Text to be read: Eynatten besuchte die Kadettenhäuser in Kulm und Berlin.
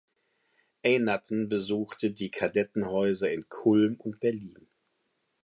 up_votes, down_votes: 2, 0